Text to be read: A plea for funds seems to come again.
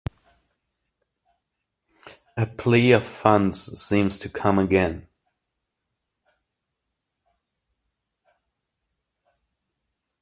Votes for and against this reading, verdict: 0, 2, rejected